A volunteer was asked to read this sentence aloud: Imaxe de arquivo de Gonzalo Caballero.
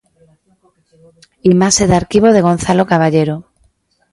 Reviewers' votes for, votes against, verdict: 2, 0, accepted